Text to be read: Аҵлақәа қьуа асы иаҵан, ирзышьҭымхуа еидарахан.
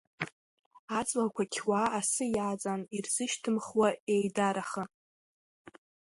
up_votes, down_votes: 2, 0